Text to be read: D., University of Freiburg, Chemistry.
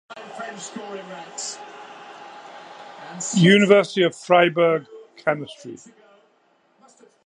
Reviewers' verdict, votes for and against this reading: rejected, 1, 2